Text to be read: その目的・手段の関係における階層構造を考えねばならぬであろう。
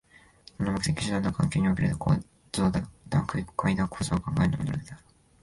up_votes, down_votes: 0, 2